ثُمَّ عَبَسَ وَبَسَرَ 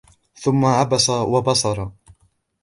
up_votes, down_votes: 2, 0